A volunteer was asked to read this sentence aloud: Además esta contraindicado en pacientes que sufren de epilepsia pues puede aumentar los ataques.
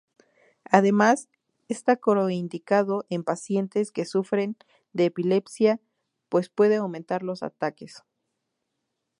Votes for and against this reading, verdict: 0, 2, rejected